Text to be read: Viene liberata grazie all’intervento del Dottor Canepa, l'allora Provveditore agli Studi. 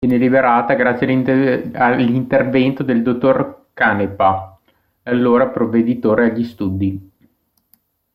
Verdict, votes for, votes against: rejected, 0, 2